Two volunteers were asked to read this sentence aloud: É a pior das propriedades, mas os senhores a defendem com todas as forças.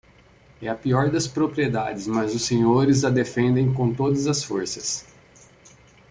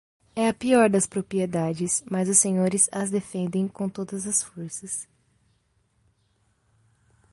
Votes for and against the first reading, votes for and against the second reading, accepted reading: 2, 0, 1, 2, first